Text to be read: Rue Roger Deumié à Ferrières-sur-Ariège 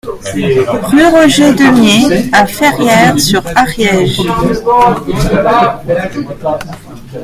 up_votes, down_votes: 1, 2